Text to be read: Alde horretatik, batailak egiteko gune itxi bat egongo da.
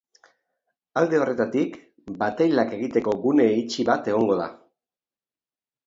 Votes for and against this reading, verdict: 3, 2, accepted